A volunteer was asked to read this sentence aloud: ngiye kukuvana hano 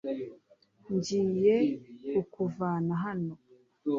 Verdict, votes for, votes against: accepted, 2, 0